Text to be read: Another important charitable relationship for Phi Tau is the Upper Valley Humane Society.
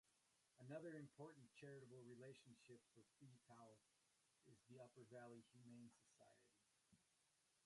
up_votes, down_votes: 0, 2